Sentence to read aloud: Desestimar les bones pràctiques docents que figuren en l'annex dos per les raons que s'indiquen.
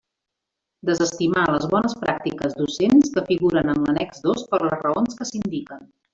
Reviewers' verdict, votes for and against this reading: rejected, 1, 2